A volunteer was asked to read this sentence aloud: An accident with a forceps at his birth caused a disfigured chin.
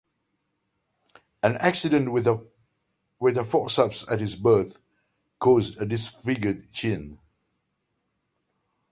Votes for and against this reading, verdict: 2, 0, accepted